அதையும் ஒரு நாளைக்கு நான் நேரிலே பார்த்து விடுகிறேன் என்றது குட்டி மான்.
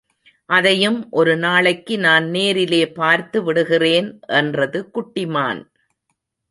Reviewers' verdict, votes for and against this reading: accepted, 2, 0